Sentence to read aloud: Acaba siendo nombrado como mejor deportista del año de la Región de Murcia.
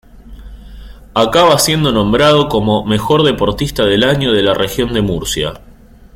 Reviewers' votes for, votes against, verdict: 2, 0, accepted